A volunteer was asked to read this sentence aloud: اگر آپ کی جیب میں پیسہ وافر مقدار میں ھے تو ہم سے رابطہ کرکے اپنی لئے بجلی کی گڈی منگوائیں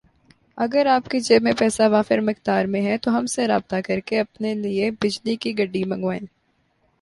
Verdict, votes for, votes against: rejected, 2, 3